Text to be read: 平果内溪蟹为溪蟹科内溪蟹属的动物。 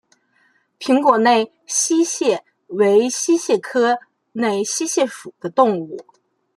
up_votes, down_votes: 2, 0